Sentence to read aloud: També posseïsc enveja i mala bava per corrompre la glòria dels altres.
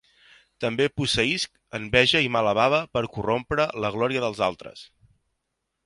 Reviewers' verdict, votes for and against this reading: accepted, 2, 0